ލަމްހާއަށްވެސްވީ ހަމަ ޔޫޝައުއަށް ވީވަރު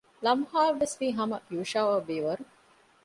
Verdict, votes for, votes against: accepted, 2, 0